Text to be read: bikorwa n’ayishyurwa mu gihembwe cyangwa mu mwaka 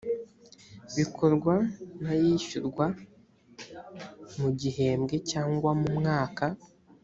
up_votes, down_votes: 1, 2